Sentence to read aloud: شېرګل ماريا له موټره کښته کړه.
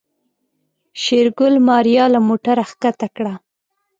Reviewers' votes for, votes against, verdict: 2, 1, accepted